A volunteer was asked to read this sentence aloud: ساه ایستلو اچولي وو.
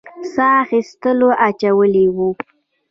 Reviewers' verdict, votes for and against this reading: rejected, 0, 2